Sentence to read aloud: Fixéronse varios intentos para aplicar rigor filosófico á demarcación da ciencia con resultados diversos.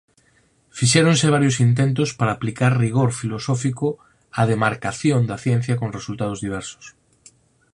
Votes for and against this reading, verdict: 4, 0, accepted